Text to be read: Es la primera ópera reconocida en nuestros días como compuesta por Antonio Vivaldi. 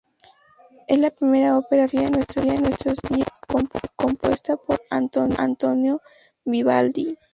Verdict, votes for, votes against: rejected, 0, 2